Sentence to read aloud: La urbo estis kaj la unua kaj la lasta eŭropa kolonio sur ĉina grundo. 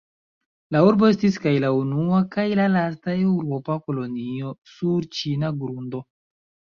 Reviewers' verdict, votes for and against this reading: accepted, 2, 1